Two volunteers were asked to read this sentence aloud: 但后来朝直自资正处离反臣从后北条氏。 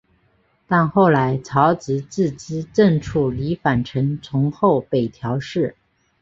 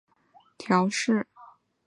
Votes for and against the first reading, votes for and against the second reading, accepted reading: 6, 0, 2, 3, first